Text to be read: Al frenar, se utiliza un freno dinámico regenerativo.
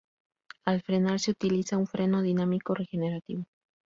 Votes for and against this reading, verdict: 2, 0, accepted